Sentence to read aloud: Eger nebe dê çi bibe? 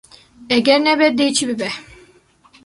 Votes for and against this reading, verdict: 2, 0, accepted